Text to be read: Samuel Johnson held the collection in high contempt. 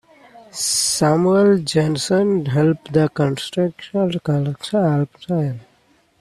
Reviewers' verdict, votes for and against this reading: rejected, 0, 2